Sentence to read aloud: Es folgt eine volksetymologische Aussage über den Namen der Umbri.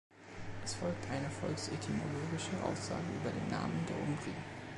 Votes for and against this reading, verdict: 2, 1, accepted